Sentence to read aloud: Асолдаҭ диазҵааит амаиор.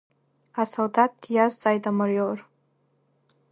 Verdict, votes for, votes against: accepted, 2, 1